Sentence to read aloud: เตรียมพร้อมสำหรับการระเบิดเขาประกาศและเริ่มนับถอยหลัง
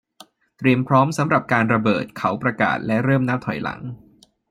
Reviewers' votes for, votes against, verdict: 2, 0, accepted